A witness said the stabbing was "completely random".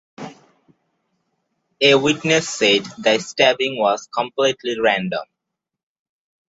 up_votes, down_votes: 2, 0